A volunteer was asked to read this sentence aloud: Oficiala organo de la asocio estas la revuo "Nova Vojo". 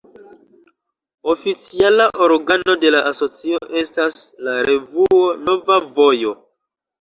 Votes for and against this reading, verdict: 2, 0, accepted